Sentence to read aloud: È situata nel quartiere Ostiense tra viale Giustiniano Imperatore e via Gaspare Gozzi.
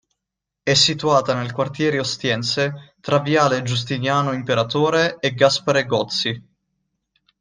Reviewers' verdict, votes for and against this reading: rejected, 0, 2